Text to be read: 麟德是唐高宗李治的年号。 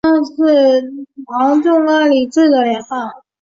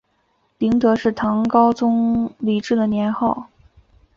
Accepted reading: second